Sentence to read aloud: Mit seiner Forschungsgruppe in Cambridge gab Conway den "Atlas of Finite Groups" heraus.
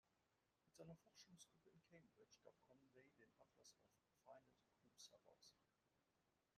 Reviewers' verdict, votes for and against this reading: rejected, 0, 2